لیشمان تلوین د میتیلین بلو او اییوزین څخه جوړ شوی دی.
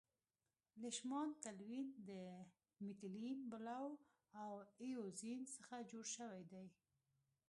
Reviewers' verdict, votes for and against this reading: rejected, 0, 2